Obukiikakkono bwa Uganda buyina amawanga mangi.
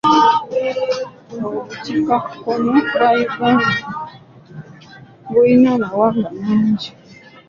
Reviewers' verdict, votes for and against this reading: rejected, 0, 2